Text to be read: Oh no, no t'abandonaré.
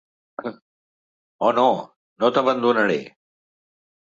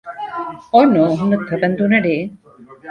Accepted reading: first